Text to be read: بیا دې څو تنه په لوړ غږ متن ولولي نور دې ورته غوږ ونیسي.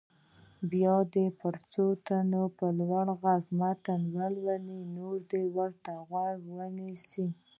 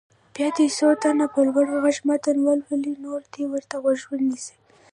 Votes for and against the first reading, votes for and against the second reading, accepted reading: 2, 0, 1, 2, first